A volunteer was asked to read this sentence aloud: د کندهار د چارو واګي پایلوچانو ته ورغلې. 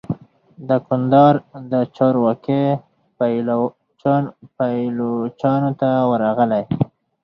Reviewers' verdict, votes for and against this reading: accepted, 4, 2